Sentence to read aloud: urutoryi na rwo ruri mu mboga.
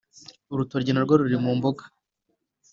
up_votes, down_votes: 2, 0